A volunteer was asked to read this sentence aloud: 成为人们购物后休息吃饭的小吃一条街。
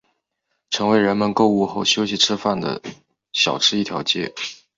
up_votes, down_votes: 3, 0